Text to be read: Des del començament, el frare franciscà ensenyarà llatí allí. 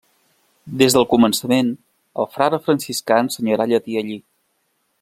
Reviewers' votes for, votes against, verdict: 2, 0, accepted